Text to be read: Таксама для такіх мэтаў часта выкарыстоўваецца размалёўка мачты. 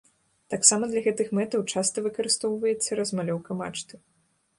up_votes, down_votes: 0, 2